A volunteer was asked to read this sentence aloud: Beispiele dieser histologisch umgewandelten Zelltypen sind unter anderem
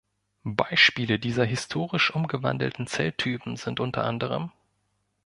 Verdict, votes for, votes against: rejected, 1, 2